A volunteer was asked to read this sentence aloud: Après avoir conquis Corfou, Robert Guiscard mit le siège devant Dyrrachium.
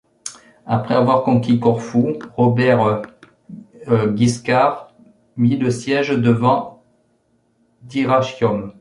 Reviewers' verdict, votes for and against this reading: rejected, 0, 2